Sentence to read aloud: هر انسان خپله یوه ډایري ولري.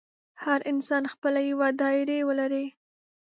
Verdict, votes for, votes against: rejected, 1, 2